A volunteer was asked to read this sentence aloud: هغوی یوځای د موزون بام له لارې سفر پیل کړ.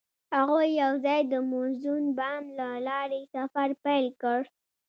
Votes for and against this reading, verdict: 2, 0, accepted